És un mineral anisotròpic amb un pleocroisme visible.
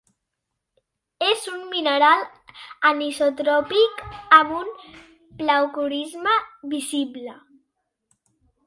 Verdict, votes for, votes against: accepted, 3, 2